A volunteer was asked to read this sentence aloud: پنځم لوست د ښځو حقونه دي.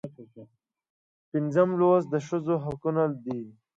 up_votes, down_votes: 2, 0